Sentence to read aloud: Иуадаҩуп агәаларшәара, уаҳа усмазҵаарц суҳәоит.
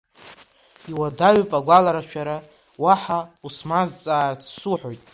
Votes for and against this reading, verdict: 3, 1, accepted